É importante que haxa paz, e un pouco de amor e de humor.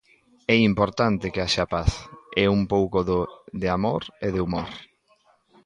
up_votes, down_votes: 0, 3